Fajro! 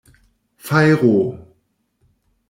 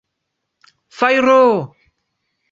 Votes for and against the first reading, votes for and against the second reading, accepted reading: 1, 2, 2, 0, second